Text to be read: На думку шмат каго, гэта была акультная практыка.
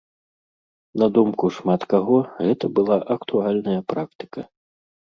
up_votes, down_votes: 1, 2